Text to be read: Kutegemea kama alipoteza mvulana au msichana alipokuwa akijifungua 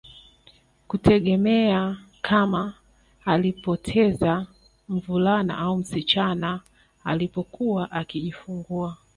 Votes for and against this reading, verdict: 2, 0, accepted